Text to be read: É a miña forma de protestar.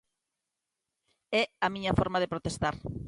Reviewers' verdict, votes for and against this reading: accepted, 3, 0